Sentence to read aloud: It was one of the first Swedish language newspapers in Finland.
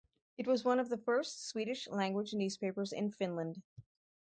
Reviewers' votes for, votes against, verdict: 4, 2, accepted